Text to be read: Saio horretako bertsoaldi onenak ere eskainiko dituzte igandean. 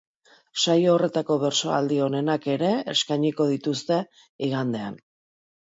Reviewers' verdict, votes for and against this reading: rejected, 1, 2